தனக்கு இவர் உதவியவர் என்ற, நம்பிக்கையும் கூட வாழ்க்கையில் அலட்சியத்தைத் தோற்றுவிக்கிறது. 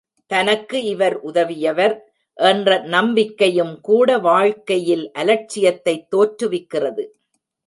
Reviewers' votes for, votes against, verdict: 2, 0, accepted